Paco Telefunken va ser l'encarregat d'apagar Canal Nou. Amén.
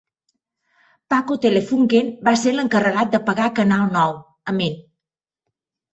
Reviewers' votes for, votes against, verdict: 2, 0, accepted